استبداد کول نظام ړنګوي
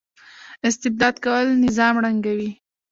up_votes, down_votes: 2, 0